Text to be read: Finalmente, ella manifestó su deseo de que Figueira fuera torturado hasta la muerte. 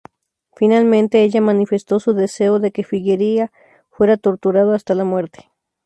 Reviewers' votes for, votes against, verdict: 2, 2, rejected